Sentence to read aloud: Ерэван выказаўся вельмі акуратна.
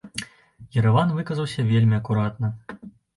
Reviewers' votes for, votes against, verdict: 2, 0, accepted